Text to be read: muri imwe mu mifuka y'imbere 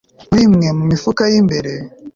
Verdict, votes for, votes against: accepted, 4, 0